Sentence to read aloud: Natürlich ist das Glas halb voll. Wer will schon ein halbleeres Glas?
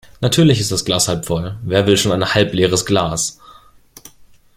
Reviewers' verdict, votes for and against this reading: rejected, 1, 2